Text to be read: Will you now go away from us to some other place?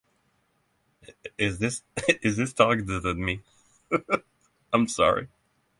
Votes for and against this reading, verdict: 0, 6, rejected